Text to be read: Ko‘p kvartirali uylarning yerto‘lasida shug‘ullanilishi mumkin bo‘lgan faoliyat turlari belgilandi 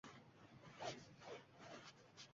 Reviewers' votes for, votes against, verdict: 0, 2, rejected